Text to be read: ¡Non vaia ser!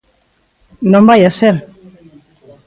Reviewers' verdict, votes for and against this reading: accepted, 2, 1